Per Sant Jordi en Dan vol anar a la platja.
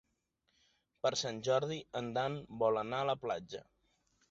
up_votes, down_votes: 3, 0